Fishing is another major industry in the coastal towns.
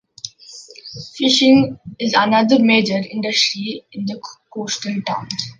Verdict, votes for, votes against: accepted, 2, 1